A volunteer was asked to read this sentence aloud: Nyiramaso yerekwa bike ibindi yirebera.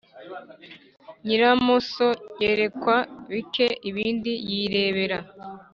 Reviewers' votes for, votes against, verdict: 1, 2, rejected